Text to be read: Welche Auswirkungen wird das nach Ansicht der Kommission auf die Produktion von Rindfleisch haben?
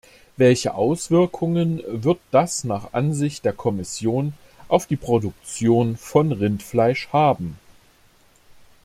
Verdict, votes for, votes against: accepted, 2, 0